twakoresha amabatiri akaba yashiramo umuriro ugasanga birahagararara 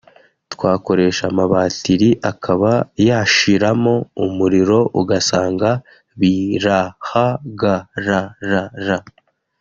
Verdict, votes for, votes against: rejected, 1, 2